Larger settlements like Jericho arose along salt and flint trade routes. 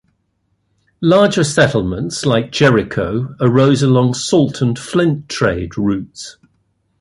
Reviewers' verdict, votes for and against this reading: accepted, 2, 0